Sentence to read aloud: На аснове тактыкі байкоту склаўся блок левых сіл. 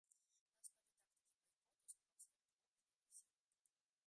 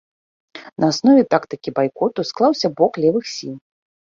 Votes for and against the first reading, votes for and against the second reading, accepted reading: 0, 2, 2, 0, second